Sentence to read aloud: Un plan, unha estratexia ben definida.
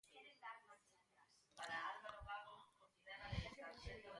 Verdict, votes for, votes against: rejected, 0, 2